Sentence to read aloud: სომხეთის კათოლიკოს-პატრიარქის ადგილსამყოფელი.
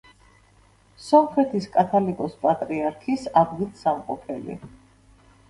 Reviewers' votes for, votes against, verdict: 1, 2, rejected